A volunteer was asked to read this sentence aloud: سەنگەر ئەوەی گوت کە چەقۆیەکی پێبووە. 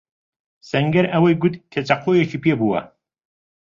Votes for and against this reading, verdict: 2, 0, accepted